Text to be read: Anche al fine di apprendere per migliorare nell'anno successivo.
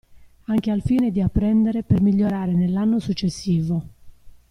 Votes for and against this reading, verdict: 1, 2, rejected